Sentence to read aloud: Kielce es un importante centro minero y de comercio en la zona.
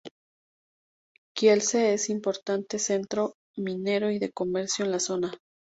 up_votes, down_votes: 0, 2